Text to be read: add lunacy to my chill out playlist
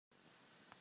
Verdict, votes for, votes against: rejected, 0, 2